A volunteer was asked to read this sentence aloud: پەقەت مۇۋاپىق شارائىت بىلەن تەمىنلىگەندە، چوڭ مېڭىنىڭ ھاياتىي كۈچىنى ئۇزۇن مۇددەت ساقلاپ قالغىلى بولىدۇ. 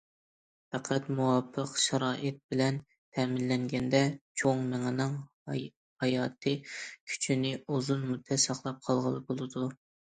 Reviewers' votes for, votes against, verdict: 0, 2, rejected